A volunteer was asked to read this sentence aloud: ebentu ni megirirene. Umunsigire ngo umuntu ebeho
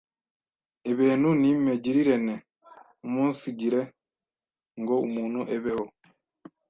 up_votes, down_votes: 1, 2